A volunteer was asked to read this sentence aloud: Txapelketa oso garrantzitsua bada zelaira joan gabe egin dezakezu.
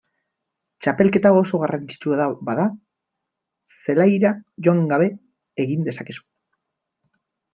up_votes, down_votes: 5, 2